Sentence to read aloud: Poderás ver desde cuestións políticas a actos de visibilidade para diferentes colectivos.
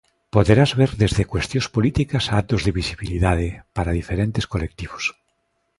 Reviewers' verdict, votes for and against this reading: accepted, 2, 0